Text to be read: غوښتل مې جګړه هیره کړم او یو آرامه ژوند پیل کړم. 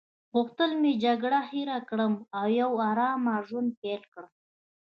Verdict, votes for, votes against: accepted, 2, 0